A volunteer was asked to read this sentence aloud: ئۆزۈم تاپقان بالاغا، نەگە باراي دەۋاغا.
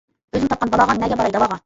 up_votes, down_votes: 1, 2